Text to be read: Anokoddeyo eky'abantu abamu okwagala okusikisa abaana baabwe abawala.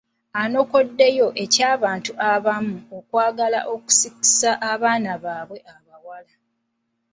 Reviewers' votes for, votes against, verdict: 2, 1, accepted